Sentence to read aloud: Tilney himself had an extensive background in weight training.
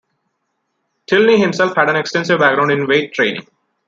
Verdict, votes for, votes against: accepted, 2, 0